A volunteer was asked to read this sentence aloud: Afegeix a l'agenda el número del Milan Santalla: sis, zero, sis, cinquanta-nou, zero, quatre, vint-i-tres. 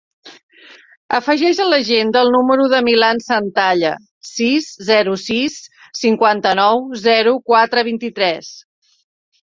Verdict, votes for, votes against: rejected, 1, 2